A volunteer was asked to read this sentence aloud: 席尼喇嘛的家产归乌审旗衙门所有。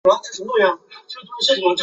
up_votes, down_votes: 0, 3